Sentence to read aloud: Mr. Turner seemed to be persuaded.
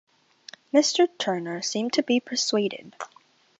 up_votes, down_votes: 2, 0